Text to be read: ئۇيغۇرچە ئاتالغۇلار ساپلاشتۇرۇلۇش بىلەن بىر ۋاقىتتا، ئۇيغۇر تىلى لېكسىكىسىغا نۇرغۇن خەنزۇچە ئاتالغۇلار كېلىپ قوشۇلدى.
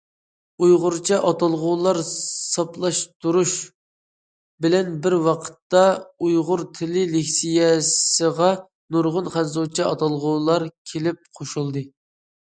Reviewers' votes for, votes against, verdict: 0, 2, rejected